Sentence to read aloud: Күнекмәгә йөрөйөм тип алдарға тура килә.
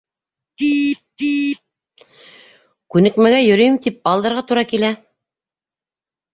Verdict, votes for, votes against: accepted, 2, 0